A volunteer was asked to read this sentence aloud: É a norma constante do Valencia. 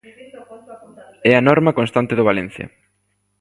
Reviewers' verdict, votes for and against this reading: rejected, 1, 2